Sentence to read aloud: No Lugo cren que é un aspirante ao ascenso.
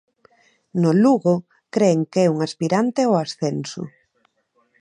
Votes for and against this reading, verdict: 1, 2, rejected